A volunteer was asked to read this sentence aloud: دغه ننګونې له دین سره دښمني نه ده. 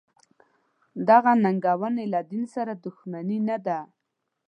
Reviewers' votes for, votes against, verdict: 2, 0, accepted